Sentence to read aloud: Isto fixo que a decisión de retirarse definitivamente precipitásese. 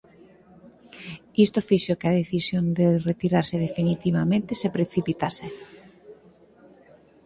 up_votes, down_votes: 0, 4